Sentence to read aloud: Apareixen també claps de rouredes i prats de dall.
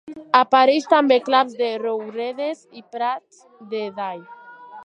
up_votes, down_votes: 0, 3